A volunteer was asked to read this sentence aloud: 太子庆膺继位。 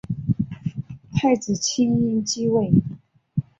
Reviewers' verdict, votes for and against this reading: accepted, 3, 0